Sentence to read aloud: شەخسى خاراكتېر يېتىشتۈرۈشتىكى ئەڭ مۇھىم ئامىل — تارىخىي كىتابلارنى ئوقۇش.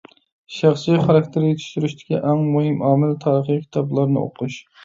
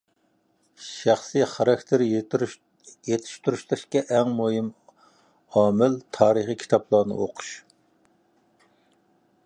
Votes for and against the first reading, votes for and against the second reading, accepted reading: 2, 0, 0, 2, first